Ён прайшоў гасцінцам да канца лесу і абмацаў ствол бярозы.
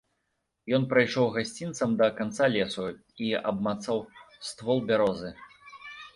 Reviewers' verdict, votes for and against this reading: rejected, 0, 2